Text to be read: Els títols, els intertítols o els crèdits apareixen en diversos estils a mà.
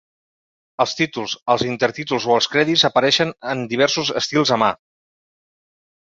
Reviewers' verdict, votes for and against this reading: accepted, 2, 0